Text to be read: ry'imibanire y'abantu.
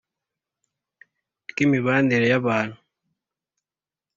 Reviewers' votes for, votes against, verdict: 2, 0, accepted